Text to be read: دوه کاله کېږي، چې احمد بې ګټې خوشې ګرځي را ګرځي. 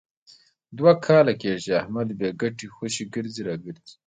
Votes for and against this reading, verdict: 2, 0, accepted